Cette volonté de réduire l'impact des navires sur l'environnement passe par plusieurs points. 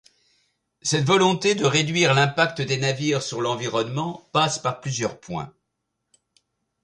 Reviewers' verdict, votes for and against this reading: accepted, 2, 0